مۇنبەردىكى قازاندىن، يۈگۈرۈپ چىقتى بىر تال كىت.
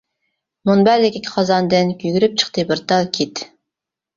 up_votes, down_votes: 0, 2